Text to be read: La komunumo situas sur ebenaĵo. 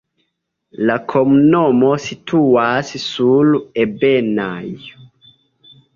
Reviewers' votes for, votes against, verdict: 2, 0, accepted